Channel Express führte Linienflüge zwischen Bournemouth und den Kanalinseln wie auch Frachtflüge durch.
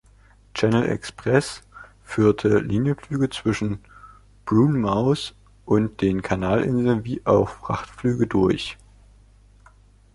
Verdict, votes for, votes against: rejected, 1, 2